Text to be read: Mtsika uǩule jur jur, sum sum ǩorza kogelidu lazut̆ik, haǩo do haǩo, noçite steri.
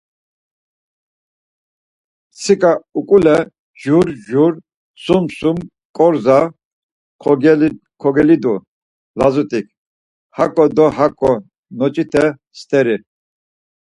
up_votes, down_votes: 2, 4